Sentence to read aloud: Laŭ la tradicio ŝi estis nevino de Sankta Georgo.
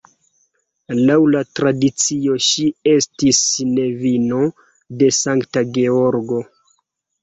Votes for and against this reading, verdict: 2, 1, accepted